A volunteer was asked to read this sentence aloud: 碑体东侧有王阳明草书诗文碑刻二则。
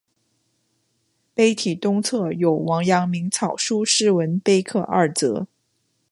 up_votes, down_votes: 2, 0